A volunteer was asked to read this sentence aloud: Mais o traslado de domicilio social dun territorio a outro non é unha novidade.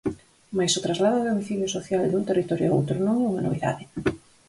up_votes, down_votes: 4, 0